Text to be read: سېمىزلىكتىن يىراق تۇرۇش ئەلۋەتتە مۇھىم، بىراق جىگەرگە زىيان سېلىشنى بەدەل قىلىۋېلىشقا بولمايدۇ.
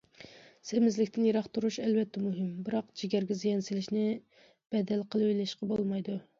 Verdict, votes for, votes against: accepted, 2, 0